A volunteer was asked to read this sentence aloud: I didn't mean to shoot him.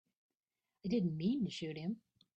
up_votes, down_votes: 1, 2